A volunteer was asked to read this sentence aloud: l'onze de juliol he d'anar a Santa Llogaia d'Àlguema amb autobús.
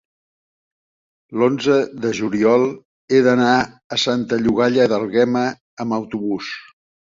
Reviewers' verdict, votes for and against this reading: accepted, 2, 0